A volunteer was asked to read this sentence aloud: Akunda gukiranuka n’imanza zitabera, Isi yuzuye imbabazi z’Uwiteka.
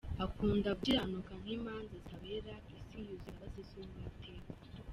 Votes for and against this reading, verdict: 2, 0, accepted